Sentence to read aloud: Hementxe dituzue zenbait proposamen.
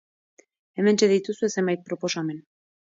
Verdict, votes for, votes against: accepted, 2, 0